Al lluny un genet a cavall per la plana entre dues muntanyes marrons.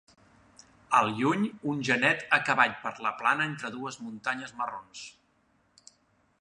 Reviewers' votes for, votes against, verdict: 2, 0, accepted